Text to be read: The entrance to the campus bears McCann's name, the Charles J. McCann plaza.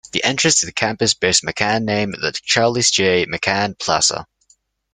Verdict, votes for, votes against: accepted, 2, 1